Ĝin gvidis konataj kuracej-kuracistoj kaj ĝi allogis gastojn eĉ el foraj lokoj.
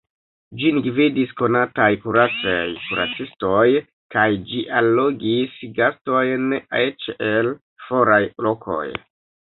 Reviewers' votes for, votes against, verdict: 0, 2, rejected